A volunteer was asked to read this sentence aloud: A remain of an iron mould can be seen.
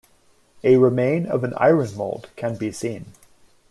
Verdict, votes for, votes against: rejected, 1, 2